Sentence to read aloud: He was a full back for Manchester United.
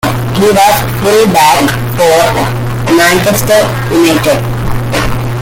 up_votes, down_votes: 0, 2